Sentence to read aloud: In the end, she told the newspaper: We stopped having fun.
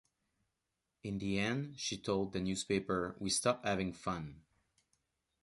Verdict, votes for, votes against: accepted, 2, 1